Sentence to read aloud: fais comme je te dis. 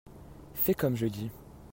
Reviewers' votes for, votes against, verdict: 1, 2, rejected